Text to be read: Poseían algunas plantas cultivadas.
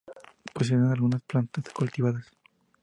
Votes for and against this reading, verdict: 2, 0, accepted